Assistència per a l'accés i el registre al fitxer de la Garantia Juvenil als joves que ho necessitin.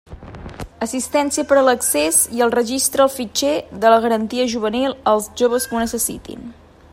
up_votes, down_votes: 2, 0